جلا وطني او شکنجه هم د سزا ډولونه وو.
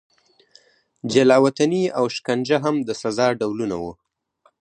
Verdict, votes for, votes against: accepted, 4, 0